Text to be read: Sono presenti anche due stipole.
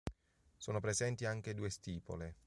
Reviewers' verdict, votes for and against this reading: accepted, 2, 0